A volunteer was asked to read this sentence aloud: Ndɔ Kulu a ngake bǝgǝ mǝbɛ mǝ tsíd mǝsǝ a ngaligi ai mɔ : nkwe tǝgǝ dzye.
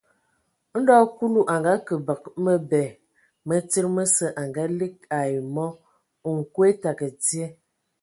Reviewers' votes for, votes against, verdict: 2, 0, accepted